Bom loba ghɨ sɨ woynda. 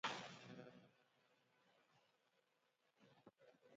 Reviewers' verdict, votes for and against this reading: rejected, 0, 2